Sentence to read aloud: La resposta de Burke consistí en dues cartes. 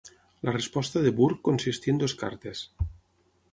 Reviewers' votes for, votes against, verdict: 3, 6, rejected